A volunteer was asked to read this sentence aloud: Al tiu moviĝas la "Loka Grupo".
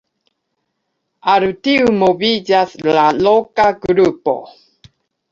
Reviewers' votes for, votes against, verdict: 0, 2, rejected